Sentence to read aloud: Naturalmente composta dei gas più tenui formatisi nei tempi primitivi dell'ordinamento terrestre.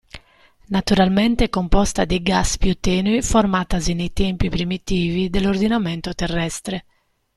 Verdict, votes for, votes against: rejected, 1, 2